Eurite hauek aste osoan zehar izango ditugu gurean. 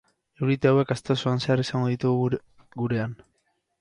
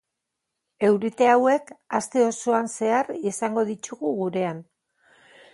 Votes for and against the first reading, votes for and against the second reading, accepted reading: 0, 2, 4, 2, second